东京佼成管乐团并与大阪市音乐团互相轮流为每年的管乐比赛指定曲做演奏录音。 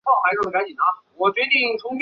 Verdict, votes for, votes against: accepted, 3, 2